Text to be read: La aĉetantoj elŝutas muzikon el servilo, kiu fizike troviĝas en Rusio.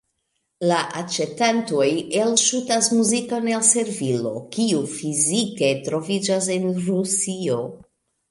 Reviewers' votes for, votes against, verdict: 0, 2, rejected